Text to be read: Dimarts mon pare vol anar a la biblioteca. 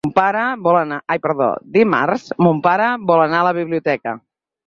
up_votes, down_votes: 2, 4